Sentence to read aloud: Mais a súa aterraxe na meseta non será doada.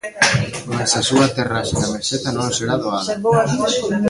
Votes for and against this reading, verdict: 0, 2, rejected